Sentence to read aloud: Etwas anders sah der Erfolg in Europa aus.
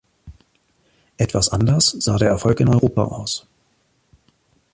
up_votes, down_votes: 2, 1